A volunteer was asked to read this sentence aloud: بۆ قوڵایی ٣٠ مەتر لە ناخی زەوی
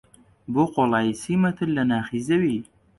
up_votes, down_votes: 0, 2